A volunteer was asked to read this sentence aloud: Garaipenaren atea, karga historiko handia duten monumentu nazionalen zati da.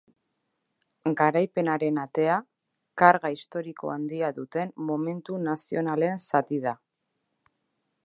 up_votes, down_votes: 1, 2